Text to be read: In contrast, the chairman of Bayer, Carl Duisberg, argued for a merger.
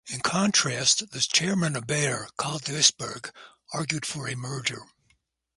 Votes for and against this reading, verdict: 2, 0, accepted